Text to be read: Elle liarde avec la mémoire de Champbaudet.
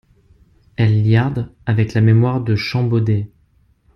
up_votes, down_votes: 2, 0